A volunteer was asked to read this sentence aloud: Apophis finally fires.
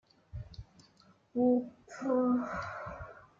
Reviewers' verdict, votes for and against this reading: rejected, 1, 2